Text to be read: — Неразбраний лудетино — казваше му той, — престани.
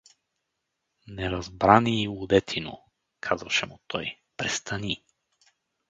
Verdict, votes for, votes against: accepted, 4, 0